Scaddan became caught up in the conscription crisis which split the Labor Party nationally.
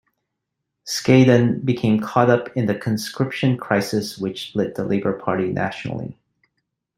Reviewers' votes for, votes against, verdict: 2, 0, accepted